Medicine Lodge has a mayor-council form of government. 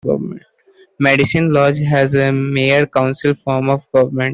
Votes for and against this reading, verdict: 0, 2, rejected